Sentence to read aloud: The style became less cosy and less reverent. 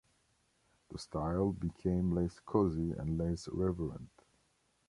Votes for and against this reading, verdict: 1, 2, rejected